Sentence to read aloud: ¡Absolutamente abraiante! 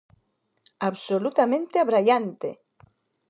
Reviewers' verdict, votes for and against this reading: accepted, 2, 0